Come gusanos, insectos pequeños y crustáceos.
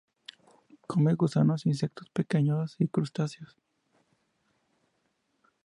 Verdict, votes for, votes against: accepted, 2, 0